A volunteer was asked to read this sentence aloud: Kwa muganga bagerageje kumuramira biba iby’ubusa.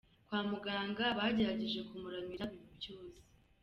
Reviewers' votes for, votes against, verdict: 2, 1, accepted